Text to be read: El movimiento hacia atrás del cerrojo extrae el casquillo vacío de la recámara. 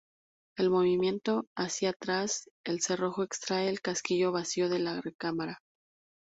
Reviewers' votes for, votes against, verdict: 0, 2, rejected